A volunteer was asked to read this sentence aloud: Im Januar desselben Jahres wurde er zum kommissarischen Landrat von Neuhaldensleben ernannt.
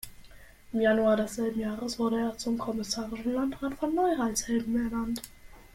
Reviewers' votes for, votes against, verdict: 0, 2, rejected